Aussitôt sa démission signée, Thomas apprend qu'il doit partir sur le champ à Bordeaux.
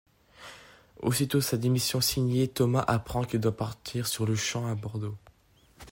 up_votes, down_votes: 2, 0